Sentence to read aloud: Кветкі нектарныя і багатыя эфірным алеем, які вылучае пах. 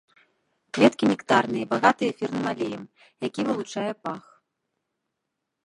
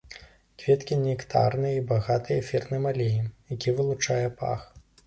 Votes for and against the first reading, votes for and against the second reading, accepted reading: 1, 2, 2, 0, second